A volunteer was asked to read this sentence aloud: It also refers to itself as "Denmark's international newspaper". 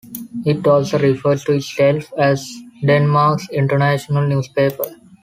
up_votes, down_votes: 2, 0